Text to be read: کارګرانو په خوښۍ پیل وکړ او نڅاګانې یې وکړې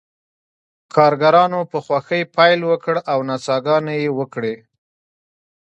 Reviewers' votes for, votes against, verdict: 1, 2, rejected